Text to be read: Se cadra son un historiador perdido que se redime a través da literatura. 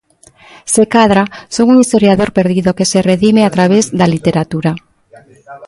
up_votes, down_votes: 1, 2